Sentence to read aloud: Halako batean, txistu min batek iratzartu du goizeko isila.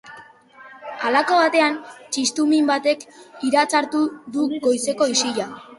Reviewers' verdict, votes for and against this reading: accepted, 2, 0